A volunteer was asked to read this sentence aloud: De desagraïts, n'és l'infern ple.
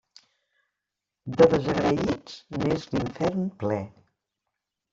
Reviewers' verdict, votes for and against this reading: rejected, 0, 2